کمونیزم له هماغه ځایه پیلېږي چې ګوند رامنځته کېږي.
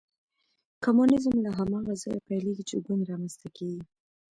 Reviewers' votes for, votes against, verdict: 0, 2, rejected